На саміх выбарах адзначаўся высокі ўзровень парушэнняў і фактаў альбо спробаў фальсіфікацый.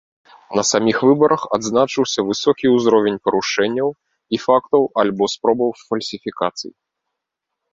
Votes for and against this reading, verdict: 1, 2, rejected